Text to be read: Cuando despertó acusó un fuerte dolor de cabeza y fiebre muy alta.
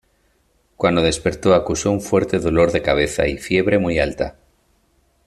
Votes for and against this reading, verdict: 2, 0, accepted